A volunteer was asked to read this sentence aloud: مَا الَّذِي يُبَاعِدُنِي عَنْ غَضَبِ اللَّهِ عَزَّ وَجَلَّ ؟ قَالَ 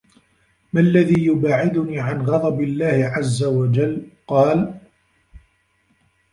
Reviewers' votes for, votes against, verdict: 1, 2, rejected